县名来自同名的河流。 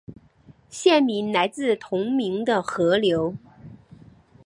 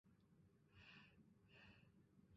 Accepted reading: first